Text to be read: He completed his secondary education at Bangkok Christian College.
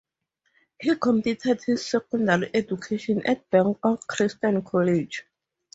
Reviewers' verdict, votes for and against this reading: accepted, 2, 0